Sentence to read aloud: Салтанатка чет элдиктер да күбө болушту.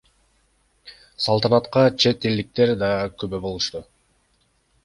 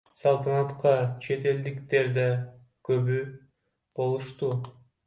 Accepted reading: first